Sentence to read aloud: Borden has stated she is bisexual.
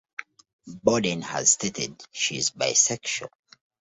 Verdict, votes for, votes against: accepted, 2, 0